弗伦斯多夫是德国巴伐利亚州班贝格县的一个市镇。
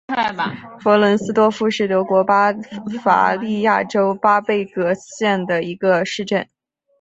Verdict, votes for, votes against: accepted, 4, 0